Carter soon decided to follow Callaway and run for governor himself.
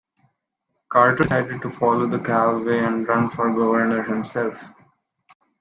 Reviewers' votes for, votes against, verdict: 1, 2, rejected